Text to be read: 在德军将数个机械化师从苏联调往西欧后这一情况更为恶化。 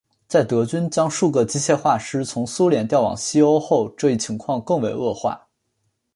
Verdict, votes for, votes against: accepted, 2, 0